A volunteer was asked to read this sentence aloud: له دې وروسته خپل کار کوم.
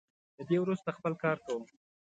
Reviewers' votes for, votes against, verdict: 2, 0, accepted